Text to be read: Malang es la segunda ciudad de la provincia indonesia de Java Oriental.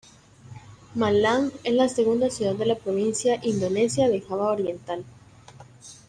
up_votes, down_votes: 2, 0